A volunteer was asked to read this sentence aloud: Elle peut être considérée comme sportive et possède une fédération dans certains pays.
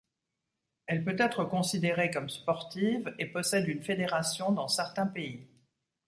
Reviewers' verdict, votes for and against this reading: accepted, 2, 0